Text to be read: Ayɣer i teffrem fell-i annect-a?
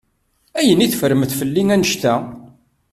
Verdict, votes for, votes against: rejected, 0, 2